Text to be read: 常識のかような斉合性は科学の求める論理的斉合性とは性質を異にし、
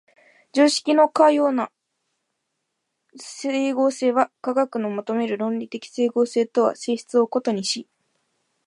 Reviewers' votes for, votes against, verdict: 0, 3, rejected